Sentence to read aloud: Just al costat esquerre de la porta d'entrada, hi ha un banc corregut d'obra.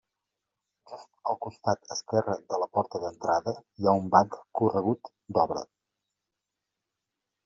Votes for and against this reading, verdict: 2, 1, accepted